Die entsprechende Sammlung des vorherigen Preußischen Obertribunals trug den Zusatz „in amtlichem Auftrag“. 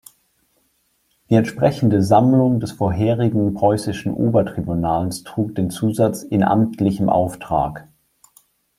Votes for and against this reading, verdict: 2, 0, accepted